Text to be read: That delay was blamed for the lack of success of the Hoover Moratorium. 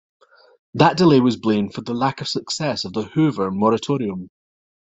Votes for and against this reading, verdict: 2, 0, accepted